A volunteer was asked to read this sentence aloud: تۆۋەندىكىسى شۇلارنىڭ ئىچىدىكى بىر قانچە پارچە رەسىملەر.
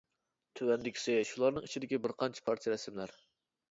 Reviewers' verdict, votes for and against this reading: accepted, 2, 0